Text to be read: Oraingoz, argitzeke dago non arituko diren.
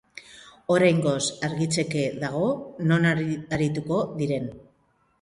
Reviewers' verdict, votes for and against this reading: rejected, 0, 2